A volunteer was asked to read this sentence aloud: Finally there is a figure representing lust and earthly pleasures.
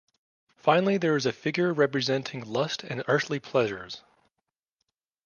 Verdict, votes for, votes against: accepted, 2, 0